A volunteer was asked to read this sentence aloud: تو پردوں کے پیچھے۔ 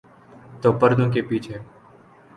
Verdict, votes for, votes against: accepted, 2, 0